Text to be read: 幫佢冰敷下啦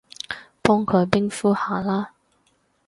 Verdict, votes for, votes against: accepted, 2, 0